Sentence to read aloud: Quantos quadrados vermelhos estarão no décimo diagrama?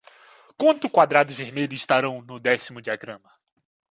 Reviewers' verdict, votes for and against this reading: rejected, 1, 2